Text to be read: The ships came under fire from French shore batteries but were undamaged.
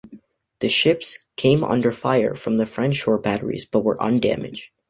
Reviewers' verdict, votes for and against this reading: rejected, 1, 2